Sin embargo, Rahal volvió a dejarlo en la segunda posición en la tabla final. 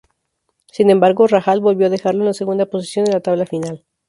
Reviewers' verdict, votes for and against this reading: accepted, 2, 0